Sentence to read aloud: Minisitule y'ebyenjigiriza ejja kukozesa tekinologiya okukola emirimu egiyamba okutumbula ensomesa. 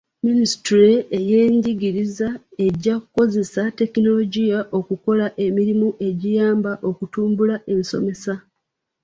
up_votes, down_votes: 1, 2